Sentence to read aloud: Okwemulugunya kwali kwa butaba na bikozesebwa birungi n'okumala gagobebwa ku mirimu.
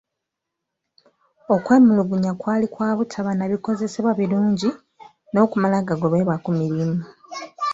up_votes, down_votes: 2, 0